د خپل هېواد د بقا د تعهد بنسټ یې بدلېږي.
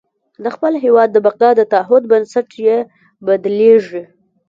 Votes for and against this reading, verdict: 3, 0, accepted